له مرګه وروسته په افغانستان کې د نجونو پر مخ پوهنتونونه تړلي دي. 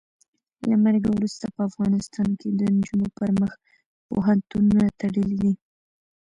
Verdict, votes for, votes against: rejected, 0, 2